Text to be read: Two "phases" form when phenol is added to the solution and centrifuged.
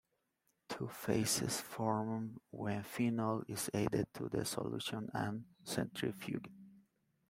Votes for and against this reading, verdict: 2, 0, accepted